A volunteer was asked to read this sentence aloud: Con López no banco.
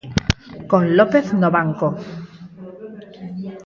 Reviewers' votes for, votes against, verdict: 0, 4, rejected